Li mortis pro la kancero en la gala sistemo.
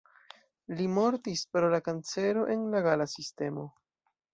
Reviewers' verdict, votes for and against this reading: accepted, 2, 0